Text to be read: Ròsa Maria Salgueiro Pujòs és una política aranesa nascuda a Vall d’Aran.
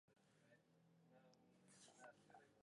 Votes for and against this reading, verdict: 0, 2, rejected